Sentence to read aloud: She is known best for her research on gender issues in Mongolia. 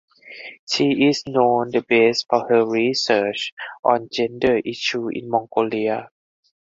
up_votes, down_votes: 0, 4